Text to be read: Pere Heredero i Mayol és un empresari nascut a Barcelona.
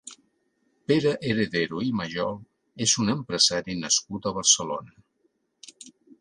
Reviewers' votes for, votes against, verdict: 2, 0, accepted